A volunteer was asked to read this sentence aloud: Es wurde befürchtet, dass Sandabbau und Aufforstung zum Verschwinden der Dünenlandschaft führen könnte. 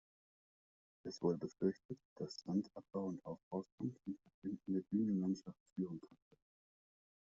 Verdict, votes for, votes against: accepted, 2, 0